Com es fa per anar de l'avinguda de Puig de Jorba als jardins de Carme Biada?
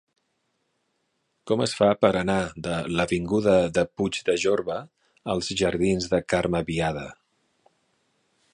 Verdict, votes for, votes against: accepted, 2, 0